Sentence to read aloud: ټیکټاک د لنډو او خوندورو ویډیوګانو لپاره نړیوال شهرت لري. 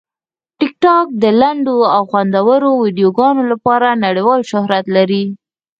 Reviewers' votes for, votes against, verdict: 4, 2, accepted